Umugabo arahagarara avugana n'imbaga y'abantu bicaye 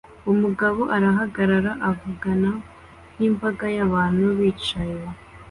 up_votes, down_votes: 2, 0